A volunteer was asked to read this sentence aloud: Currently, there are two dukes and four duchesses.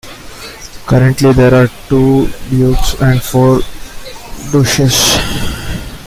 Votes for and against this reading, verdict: 0, 2, rejected